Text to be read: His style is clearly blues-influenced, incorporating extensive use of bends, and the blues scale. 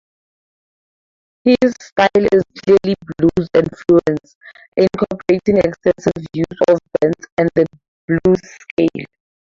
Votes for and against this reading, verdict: 4, 0, accepted